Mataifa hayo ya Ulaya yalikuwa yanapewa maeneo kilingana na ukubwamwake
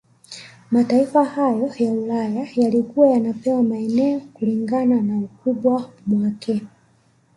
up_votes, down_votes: 1, 2